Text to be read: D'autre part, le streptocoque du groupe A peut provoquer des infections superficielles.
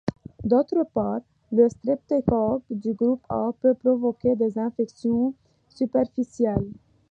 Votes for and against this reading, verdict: 2, 1, accepted